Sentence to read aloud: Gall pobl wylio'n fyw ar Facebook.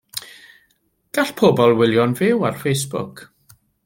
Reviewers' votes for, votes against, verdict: 2, 0, accepted